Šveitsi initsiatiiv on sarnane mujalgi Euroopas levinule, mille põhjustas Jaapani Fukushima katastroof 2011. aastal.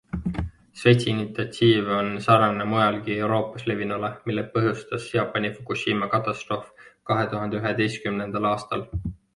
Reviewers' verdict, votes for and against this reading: rejected, 0, 2